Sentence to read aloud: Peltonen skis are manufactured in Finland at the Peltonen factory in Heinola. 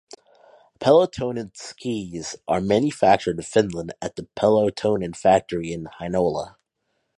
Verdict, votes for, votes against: rejected, 0, 2